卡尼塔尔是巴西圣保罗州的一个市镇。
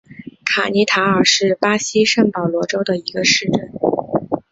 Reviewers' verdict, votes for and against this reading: accepted, 4, 0